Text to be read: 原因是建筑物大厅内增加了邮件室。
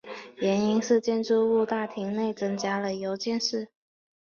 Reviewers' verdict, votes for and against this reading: accepted, 3, 1